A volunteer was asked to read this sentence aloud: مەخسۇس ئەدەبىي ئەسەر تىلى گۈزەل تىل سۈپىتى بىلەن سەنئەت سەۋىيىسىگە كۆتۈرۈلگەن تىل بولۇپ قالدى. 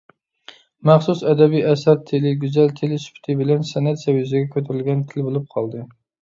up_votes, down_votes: 1, 2